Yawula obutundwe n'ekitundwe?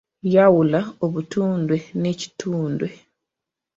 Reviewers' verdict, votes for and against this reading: accepted, 2, 0